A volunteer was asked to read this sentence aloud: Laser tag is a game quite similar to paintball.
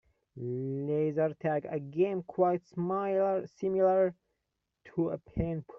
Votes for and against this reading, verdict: 0, 2, rejected